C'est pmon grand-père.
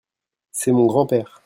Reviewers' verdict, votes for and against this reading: rejected, 1, 2